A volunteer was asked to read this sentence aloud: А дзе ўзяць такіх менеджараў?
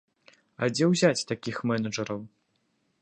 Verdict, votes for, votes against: accepted, 2, 0